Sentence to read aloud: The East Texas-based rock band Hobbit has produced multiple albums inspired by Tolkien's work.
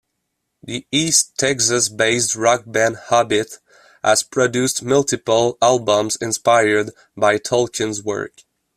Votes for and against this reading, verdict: 2, 0, accepted